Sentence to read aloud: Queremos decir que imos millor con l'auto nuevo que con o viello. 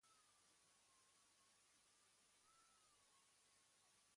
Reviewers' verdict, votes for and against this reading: rejected, 1, 2